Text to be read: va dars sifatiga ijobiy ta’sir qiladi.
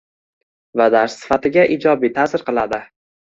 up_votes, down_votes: 1, 2